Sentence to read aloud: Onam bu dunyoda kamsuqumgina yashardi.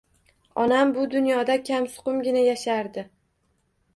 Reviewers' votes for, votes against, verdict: 2, 1, accepted